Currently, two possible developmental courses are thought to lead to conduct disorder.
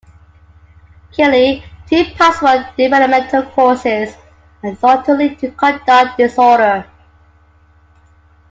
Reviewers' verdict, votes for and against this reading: rejected, 0, 2